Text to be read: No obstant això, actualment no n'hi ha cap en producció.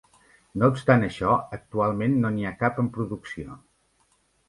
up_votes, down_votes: 3, 0